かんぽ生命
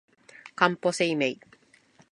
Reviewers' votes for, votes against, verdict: 2, 0, accepted